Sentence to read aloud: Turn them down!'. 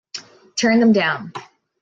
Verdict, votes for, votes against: accepted, 2, 1